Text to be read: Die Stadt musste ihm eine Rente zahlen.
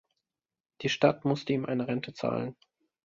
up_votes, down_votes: 2, 0